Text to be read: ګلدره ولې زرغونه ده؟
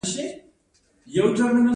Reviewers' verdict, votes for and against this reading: rejected, 1, 2